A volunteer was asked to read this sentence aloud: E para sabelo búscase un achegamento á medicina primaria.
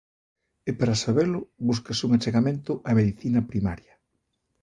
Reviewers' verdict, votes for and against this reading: accepted, 2, 0